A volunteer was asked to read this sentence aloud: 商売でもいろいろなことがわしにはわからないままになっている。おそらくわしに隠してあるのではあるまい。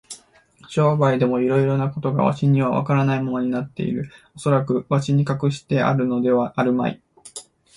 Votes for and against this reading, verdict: 2, 0, accepted